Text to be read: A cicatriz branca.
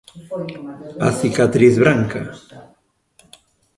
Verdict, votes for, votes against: accepted, 3, 1